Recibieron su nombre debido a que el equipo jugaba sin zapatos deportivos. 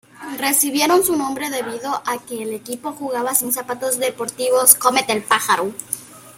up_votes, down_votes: 1, 2